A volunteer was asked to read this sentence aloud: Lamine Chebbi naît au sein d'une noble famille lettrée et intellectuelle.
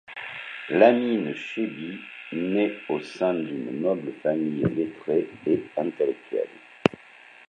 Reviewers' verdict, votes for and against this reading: accepted, 2, 0